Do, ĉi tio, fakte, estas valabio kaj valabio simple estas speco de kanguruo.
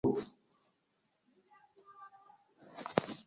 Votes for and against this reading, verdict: 0, 3, rejected